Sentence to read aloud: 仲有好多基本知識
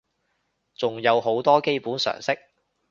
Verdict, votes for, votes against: rejected, 1, 2